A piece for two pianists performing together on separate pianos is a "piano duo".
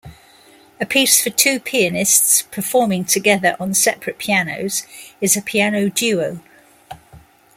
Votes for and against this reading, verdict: 2, 0, accepted